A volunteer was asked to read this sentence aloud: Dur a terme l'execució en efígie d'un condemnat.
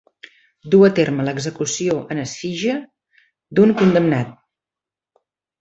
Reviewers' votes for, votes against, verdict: 1, 2, rejected